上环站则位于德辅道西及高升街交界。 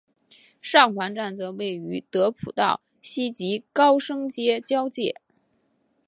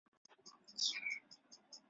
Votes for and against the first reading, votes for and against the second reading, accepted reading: 7, 0, 1, 3, first